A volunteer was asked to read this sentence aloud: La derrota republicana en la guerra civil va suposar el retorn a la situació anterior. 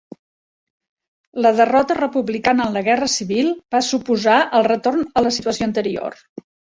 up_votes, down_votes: 3, 1